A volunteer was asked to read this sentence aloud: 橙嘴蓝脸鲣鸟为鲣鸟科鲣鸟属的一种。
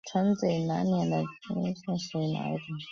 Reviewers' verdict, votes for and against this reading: rejected, 0, 3